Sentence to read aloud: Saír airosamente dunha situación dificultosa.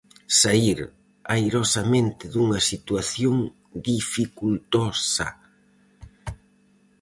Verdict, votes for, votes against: rejected, 2, 2